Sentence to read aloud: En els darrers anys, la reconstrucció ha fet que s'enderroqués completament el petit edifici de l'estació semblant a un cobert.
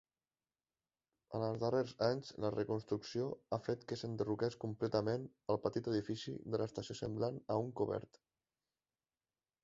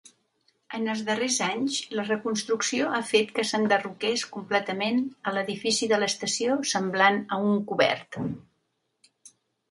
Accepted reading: first